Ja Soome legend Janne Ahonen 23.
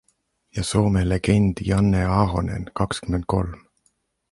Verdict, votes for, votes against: rejected, 0, 2